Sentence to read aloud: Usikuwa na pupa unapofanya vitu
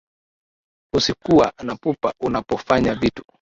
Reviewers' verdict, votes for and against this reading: accepted, 2, 1